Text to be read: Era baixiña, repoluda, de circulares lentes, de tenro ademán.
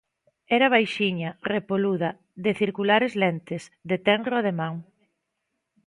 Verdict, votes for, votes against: accepted, 2, 0